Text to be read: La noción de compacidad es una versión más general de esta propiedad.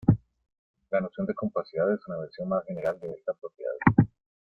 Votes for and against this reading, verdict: 2, 1, accepted